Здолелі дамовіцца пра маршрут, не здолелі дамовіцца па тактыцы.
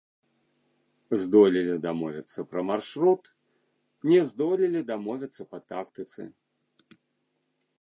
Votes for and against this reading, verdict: 1, 2, rejected